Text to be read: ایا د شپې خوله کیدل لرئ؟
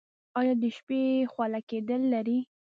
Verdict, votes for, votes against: accepted, 2, 0